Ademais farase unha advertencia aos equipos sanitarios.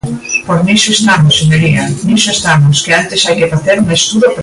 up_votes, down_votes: 0, 3